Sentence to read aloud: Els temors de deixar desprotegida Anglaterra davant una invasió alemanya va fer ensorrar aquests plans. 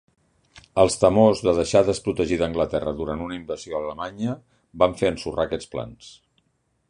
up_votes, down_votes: 1, 3